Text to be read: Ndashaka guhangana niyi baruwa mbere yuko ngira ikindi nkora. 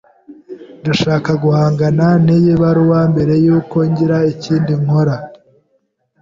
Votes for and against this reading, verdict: 1, 2, rejected